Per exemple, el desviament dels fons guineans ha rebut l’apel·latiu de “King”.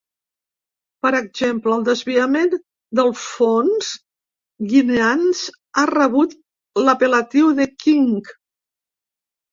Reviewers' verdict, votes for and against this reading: rejected, 0, 2